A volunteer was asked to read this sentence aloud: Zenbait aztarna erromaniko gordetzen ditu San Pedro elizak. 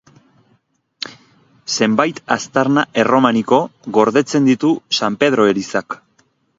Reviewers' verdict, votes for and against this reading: accepted, 2, 0